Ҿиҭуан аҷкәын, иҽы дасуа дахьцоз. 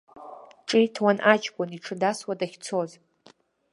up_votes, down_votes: 2, 0